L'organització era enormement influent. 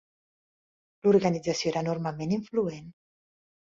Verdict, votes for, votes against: accepted, 2, 0